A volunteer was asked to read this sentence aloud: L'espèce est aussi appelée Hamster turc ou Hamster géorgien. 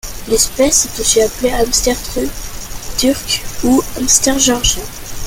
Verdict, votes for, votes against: rejected, 0, 2